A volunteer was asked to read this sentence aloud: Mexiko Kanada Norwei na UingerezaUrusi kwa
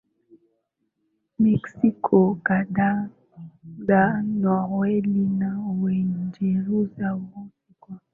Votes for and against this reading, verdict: 2, 0, accepted